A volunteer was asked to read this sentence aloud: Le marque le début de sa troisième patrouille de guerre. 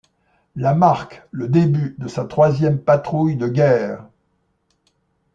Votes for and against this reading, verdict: 0, 2, rejected